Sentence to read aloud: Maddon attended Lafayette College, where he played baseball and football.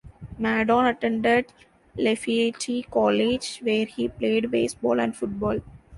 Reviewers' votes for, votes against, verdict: 0, 2, rejected